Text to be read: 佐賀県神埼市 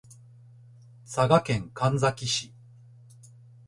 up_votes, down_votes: 3, 0